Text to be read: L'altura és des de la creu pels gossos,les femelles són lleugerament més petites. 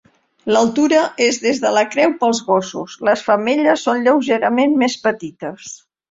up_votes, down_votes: 2, 0